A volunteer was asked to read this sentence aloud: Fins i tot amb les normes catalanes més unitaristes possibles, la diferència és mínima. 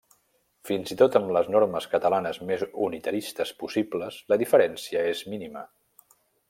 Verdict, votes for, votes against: accepted, 3, 1